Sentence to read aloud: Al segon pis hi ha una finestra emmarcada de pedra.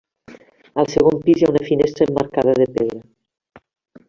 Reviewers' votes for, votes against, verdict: 3, 0, accepted